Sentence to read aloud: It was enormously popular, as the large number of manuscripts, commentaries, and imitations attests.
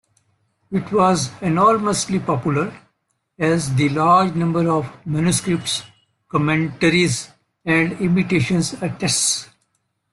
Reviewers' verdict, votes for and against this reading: accepted, 2, 0